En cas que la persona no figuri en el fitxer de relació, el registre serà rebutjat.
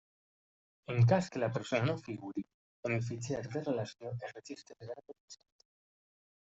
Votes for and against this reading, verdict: 0, 2, rejected